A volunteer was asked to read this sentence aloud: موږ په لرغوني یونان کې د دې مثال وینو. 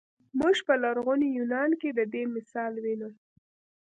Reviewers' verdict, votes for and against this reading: rejected, 1, 2